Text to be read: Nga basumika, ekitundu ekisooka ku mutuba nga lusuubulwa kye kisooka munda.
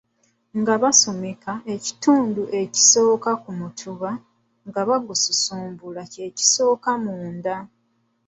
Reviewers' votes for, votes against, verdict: 2, 1, accepted